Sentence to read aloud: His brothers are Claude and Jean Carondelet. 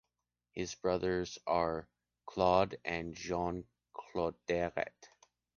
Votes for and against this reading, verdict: 1, 3, rejected